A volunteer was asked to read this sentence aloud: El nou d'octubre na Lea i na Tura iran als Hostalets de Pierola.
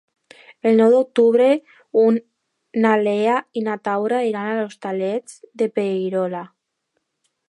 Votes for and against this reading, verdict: 0, 4, rejected